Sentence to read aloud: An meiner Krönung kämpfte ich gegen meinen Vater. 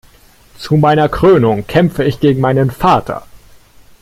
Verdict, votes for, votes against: rejected, 0, 2